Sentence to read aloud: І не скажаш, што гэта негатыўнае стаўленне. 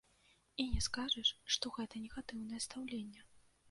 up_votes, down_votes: 1, 2